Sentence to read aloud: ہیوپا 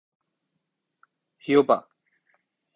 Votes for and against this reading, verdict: 2, 1, accepted